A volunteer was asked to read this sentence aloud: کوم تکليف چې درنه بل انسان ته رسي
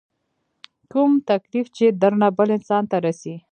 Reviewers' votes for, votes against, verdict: 2, 0, accepted